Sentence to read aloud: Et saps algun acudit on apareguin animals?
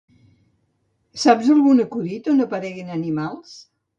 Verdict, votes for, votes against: rejected, 1, 2